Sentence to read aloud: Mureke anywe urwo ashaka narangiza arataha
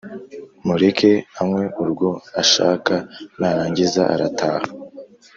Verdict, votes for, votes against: accepted, 3, 0